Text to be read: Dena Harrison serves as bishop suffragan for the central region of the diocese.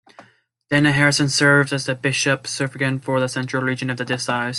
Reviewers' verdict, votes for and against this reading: accepted, 2, 1